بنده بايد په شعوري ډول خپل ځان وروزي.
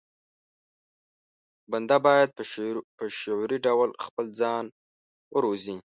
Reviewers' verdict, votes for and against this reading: accepted, 2, 0